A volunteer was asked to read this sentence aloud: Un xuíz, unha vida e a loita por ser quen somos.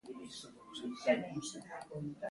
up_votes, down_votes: 0, 2